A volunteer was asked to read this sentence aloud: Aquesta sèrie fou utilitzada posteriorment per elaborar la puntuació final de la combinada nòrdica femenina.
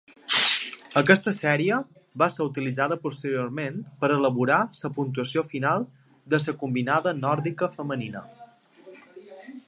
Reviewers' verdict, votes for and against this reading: rejected, 0, 3